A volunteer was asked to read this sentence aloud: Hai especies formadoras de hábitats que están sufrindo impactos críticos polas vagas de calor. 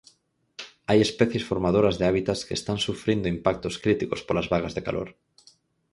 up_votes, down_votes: 4, 0